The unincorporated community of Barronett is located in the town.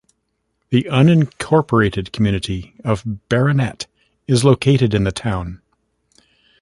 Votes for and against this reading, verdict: 1, 2, rejected